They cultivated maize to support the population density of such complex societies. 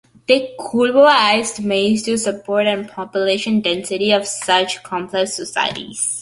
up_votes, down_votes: 0, 2